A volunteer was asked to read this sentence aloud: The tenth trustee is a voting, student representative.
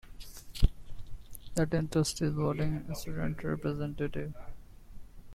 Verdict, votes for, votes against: accepted, 2, 1